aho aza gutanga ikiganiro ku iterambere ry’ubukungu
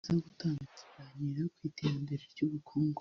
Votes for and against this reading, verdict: 1, 2, rejected